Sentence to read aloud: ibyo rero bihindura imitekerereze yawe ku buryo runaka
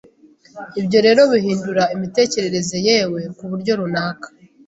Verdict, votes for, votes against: rejected, 0, 2